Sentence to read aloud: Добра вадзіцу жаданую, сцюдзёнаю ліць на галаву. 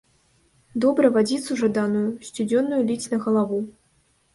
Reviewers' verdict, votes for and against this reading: accepted, 2, 0